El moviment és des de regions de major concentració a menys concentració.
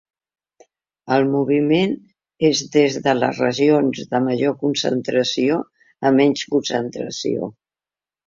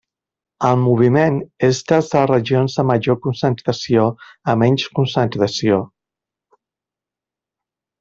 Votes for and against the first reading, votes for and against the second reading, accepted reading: 1, 2, 2, 1, second